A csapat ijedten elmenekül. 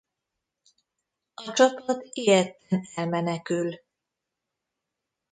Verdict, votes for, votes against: rejected, 0, 2